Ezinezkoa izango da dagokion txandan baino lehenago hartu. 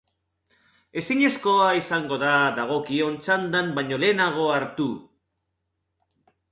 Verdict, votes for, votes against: accepted, 2, 0